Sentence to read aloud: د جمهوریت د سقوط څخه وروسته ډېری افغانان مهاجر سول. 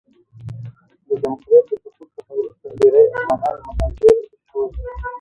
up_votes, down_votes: 0, 2